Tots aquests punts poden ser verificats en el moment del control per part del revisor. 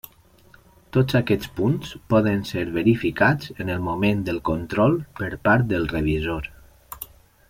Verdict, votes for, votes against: accepted, 3, 0